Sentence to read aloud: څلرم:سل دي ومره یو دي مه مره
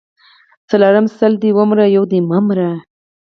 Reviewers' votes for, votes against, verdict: 4, 0, accepted